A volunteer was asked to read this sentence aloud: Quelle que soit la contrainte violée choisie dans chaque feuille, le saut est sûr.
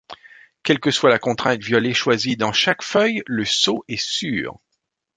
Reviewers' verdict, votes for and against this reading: accepted, 2, 0